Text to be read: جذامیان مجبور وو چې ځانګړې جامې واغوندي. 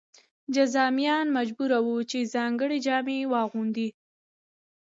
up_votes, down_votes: 3, 0